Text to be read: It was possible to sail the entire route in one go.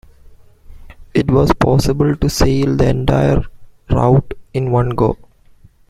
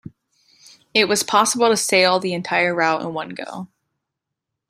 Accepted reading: second